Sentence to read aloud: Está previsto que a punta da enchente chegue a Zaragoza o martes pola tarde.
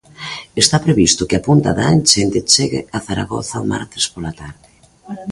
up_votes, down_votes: 2, 0